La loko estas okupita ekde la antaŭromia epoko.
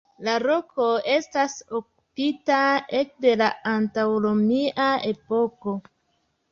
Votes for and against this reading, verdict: 1, 2, rejected